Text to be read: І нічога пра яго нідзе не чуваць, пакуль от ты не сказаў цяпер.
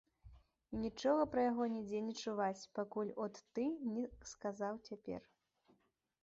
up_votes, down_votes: 3, 0